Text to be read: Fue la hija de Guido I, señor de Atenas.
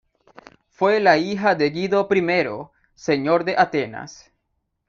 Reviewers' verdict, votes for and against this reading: rejected, 0, 2